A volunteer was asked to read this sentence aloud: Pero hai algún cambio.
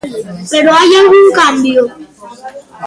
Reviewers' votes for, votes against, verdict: 1, 2, rejected